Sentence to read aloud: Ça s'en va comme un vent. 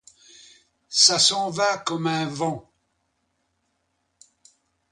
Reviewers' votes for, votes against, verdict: 2, 0, accepted